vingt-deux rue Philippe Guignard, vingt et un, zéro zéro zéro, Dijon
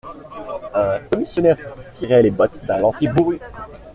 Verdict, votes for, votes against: rejected, 0, 2